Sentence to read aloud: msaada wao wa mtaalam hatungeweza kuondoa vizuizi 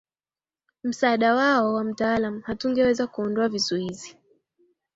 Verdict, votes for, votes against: accepted, 2, 0